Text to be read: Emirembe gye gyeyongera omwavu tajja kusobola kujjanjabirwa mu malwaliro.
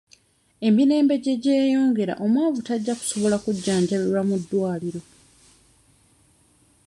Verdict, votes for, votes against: rejected, 1, 2